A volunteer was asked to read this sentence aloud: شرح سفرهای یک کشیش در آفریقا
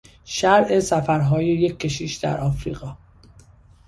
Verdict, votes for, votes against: accepted, 2, 0